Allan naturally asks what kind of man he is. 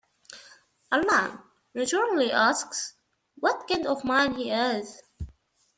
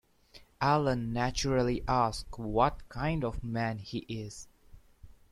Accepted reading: second